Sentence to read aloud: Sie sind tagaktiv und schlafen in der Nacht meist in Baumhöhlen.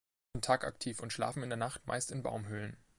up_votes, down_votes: 0, 2